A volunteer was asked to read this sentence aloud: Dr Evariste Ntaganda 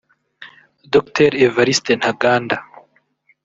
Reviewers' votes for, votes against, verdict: 2, 0, accepted